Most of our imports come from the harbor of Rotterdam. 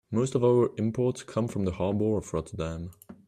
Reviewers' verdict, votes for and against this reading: rejected, 1, 2